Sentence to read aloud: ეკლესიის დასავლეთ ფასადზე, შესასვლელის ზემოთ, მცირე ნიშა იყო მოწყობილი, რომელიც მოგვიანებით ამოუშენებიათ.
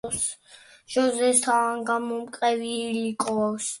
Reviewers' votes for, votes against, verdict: 2, 0, accepted